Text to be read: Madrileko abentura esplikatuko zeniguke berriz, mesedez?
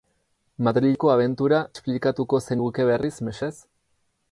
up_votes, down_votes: 0, 4